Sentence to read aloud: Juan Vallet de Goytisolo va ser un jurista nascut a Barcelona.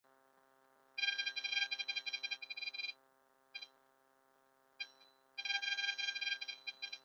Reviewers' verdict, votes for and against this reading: rejected, 0, 2